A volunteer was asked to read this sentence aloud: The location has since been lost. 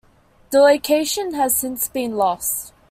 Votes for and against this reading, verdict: 2, 0, accepted